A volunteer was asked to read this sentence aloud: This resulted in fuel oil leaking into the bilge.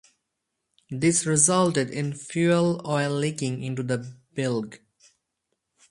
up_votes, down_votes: 2, 2